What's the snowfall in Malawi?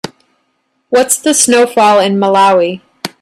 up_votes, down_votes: 3, 0